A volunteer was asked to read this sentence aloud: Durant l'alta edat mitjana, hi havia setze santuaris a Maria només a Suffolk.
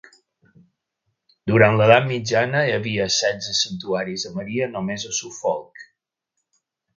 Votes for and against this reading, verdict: 0, 3, rejected